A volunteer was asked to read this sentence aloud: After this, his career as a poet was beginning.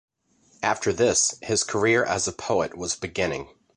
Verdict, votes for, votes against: accepted, 2, 0